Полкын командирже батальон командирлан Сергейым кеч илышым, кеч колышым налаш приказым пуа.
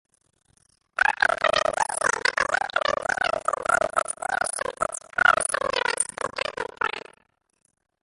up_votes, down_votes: 0, 2